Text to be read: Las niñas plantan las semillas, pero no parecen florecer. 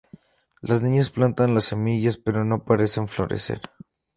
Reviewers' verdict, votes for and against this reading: accepted, 4, 0